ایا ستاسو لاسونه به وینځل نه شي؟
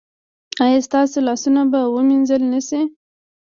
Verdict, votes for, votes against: accepted, 2, 0